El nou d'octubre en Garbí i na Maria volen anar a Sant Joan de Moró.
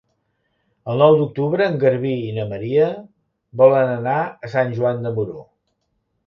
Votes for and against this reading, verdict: 2, 0, accepted